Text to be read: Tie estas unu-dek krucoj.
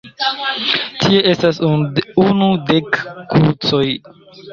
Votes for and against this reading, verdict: 0, 2, rejected